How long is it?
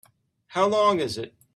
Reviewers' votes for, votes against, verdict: 2, 0, accepted